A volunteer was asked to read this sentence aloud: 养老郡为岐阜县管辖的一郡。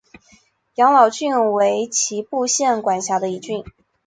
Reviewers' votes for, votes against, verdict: 6, 0, accepted